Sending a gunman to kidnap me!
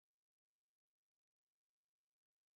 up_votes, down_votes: 0, 3